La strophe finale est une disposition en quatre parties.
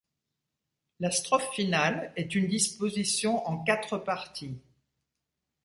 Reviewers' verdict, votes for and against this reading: accepted, 2, 0